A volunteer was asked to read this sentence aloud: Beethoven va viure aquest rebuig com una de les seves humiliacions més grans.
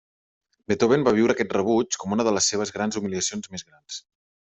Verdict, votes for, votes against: rejected, 0, 2